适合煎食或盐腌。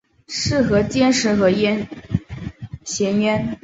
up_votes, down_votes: 1, 2